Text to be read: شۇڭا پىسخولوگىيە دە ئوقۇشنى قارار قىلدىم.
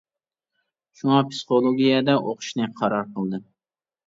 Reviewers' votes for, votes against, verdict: 2, 0, accepted